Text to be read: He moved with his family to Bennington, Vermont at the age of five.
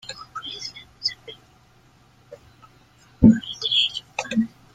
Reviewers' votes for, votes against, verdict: 0, 2, rejected